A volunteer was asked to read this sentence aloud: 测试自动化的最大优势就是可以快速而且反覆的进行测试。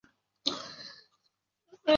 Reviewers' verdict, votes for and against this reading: rejected, 0, 2